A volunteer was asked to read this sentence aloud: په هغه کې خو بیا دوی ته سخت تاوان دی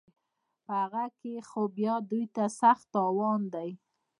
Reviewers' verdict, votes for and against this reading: rejected, 0, 2